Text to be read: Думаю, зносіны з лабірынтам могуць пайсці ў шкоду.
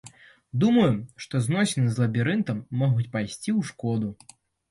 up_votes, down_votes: 0, 2